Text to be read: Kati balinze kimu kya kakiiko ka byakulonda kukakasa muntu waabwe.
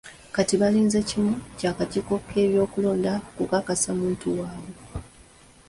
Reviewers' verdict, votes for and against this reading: rejected, 1, 2